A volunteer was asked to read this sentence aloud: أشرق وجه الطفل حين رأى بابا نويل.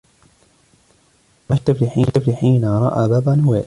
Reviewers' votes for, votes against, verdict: 1, 2, rejected